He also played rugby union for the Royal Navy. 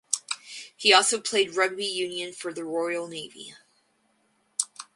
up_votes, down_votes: 4, 0